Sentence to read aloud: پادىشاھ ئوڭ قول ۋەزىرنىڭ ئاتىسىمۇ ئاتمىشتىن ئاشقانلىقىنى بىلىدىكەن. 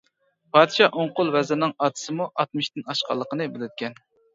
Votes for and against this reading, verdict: 2, 0, accepted